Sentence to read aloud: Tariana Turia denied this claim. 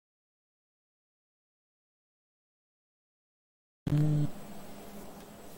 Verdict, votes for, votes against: rejected, 0, 2